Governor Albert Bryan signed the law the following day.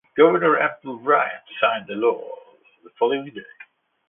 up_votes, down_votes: 0, 2